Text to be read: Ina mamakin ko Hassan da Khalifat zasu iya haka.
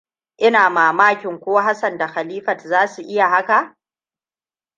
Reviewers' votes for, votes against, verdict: 1, 2, rejected